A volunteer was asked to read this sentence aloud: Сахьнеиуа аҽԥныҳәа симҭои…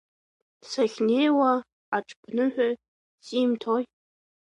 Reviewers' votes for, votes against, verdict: 2, 0, accepted